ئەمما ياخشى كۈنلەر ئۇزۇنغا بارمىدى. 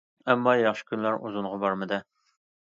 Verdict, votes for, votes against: accepted, 2, 0